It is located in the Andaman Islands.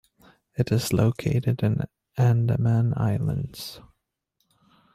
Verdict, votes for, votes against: accepted, 2, 0